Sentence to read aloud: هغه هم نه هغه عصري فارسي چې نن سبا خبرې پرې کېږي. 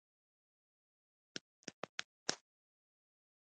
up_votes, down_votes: 1, 2